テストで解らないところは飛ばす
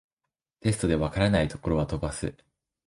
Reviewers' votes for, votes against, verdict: 2, 0, accepted